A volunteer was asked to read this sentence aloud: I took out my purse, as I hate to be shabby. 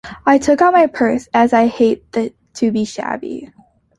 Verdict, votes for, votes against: accepted, 2, 1